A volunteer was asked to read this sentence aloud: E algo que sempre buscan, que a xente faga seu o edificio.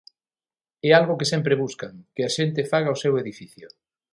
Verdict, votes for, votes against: rejected, 3, 6